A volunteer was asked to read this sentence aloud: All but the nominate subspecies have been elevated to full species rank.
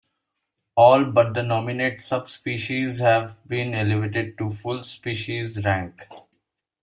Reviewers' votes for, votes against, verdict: 2, 0, accepted